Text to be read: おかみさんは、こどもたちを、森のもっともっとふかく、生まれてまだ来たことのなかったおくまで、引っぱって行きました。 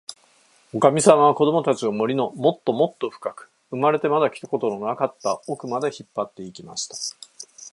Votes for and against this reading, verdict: 4, 0, accepted